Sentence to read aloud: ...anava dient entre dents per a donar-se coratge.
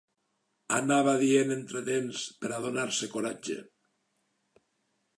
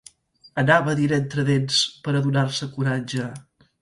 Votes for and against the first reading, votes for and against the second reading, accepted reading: 3, 1, 1, 2, first